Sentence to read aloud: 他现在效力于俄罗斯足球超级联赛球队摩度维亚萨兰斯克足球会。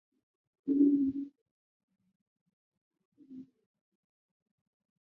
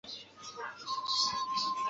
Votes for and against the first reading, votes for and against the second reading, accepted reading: 4, 2, 0, 2, first